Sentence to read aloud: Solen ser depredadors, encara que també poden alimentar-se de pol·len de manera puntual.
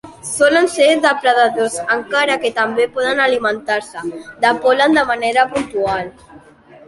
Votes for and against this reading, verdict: 2, 1, accepted